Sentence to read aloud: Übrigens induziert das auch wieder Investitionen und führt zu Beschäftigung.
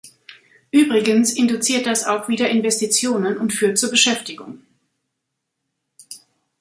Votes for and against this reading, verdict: 2, 0, accepted